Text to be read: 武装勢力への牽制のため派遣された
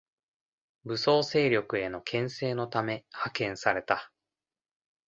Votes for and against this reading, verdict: 2, 0, accepted